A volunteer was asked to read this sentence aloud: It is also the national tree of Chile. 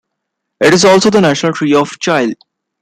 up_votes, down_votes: 2, 0